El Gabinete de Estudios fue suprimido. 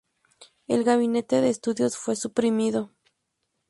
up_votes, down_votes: 2, 0